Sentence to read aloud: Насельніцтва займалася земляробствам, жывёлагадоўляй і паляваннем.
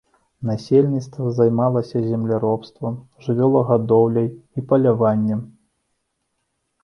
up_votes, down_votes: 2, 0